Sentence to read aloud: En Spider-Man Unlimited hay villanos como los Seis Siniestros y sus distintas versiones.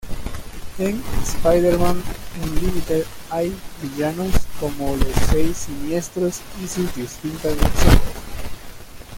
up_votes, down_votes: 0, 2